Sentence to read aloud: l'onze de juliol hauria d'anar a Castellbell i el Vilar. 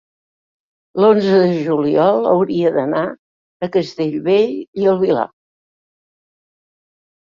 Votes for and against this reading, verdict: 3, 0, accepted